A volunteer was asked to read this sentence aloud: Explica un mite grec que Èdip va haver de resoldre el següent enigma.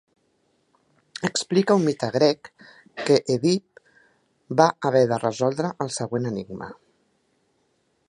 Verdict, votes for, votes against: rejected, 0, 2